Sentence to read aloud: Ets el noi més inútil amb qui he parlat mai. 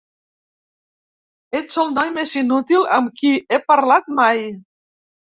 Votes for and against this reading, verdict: 2, 0, accepted